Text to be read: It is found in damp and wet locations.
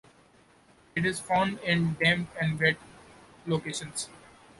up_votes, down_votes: 2, 0